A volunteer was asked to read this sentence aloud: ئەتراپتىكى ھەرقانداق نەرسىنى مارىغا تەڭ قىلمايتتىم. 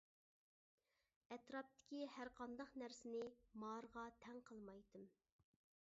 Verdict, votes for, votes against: accepted, 2, 0